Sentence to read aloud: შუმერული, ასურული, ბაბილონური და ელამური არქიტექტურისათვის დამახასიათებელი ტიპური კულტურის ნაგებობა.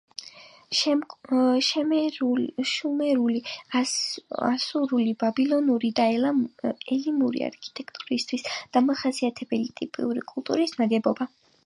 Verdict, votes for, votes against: rejected, 1, 3